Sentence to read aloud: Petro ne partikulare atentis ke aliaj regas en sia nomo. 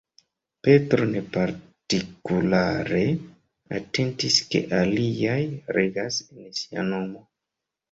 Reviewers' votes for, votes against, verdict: 0, 2, rejected